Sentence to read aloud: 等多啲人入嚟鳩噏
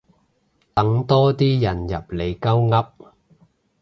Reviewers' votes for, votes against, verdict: 2, 0, accepted